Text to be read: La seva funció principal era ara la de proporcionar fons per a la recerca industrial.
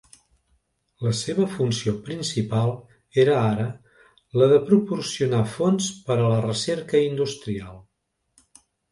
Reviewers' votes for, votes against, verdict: 3, 0, accepted